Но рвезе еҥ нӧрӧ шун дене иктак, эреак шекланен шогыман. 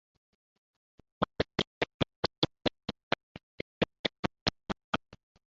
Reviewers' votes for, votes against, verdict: 0, 2, rejected